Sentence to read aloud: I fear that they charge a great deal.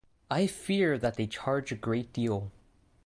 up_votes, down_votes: 2, 0